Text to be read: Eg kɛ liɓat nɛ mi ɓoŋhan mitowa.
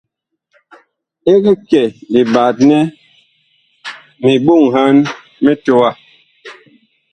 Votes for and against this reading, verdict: 1, 2, rejected